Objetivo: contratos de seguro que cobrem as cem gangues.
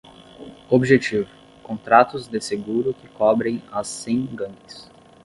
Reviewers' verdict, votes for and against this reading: accepted, 10, 0